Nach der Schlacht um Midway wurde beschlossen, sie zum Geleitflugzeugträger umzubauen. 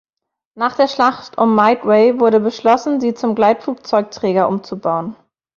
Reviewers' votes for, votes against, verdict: 1, 2, rejected